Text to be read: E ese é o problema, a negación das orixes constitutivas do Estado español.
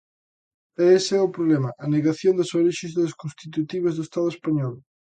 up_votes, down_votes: 0, 2